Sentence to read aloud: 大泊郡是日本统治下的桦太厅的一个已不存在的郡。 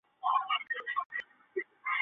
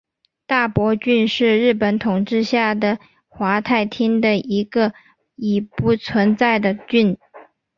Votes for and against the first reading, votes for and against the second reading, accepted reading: 1, 2, 4, 0, second